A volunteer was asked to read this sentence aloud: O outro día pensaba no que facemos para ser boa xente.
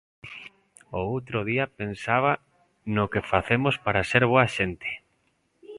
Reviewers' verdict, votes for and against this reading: accepted, 2, 0